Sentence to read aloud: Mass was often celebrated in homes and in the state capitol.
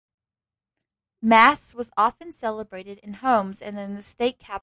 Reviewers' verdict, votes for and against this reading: accepted, 2, 1